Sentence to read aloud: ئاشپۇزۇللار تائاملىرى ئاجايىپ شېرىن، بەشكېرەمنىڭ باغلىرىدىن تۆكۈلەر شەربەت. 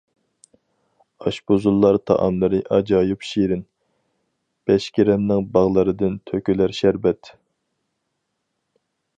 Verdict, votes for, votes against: accepted, 4, 0